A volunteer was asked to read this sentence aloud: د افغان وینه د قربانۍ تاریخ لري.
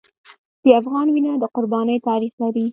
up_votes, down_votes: 2, 0